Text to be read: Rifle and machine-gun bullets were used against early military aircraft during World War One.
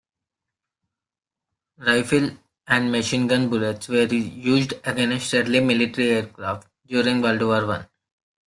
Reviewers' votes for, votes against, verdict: 0, 2, rejected